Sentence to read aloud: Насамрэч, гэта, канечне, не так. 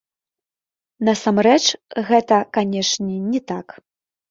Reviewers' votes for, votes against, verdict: 1, 2, rejected